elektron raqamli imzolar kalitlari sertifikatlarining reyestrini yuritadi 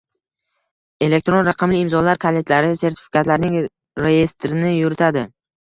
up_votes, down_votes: 1, 2